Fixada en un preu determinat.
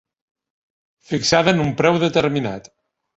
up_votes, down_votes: 3, 0